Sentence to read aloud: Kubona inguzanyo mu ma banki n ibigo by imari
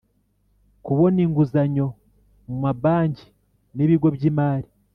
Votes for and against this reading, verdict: 2, 1, accepted